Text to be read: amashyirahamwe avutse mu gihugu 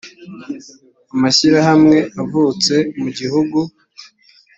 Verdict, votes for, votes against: accepted, 2, 0